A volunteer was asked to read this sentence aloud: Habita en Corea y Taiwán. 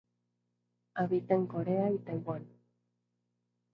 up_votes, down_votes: 8, 0